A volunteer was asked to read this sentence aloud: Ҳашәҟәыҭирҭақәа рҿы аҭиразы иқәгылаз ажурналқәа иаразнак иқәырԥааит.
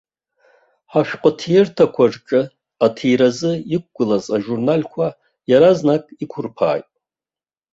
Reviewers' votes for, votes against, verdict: 2, 1, accepted